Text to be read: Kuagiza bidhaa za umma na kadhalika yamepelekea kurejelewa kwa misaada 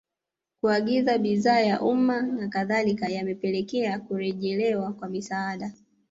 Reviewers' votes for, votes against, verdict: 1, 2, rejected